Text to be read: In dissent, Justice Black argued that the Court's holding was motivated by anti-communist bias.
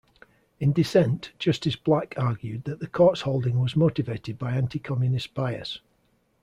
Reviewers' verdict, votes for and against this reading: accepted, 2, 0